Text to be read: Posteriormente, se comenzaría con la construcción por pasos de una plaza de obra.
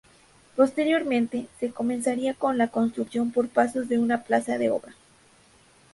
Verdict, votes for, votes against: accepted, 4, 0